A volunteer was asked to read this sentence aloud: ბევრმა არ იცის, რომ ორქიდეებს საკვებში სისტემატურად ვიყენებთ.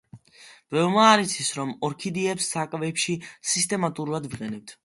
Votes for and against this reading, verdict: 2, 1, accepted